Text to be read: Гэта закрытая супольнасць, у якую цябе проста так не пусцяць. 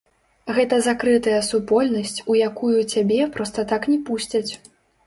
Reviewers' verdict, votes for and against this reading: rejected, 0, 2